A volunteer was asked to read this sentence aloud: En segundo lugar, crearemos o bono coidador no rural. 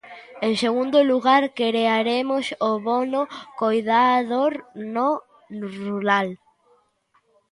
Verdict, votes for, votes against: rejected, 0, 2